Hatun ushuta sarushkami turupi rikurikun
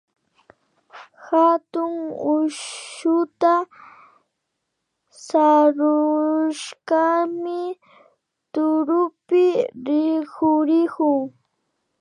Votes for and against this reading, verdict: 0, 2, rejected